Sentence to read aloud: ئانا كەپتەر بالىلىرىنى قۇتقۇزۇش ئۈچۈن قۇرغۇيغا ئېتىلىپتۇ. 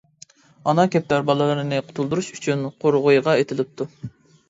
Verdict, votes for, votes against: rejected, 1, 2